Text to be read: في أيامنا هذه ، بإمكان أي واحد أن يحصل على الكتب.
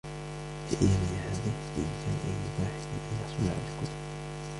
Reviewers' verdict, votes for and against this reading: rejected, 0, 2